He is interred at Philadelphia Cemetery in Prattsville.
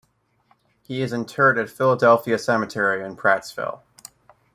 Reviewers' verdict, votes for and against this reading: accepted, 2, 0